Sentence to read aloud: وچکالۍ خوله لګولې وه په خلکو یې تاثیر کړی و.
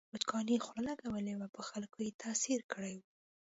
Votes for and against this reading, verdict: 2, 1, accepted